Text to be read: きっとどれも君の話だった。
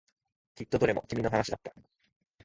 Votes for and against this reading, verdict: 2, 0, accepted